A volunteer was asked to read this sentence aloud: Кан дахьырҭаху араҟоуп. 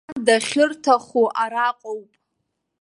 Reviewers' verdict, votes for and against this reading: rejected, 1, 2